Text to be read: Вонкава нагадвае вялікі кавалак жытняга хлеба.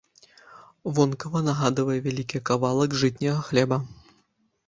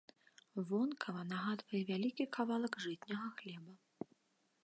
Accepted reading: second